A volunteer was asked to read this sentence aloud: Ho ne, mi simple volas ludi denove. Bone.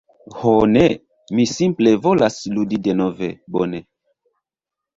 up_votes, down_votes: 1, 2